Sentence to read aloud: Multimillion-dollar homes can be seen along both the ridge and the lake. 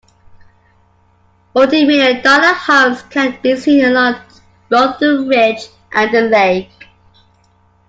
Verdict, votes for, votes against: accepted, 2, 1